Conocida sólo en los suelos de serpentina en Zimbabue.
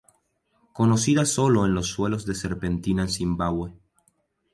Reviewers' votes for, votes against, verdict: 2, 0, accepted